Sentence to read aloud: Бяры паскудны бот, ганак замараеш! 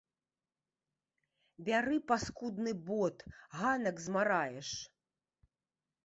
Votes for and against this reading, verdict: 0, 2, rejected